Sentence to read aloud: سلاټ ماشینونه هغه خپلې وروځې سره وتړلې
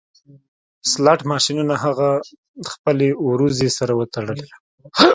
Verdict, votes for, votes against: rejected, 1, 2